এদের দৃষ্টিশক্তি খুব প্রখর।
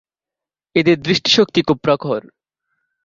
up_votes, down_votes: 2, 0